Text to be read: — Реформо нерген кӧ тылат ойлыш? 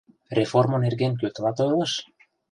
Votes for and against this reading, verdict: 2, 0, accepted